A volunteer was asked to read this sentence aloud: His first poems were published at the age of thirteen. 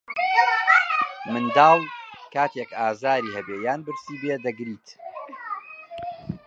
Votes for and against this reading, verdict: 0, 2, rejected